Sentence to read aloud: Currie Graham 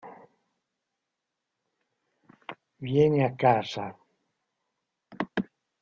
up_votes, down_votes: 0, 2